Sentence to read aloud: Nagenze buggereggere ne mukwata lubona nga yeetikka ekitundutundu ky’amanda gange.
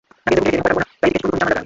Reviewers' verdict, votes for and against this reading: rejected, 0, 2